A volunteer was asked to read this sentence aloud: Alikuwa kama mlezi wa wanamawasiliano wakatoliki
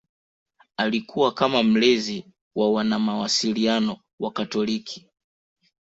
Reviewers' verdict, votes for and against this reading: accepted, 2, 1